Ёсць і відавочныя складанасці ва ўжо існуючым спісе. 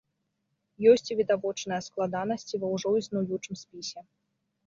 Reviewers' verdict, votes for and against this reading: rejected, 1, 2